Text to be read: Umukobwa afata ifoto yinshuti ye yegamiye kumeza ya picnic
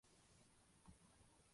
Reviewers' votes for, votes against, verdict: 0, 2, rejected